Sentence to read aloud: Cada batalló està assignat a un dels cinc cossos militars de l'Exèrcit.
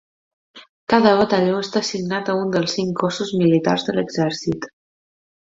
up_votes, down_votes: 2, 0